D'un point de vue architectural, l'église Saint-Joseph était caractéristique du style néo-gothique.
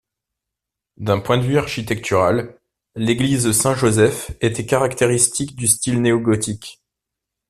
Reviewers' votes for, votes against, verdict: 2, 0, accepted